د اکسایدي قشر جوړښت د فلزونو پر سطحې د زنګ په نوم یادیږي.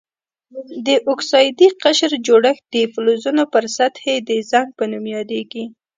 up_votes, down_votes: 2, 1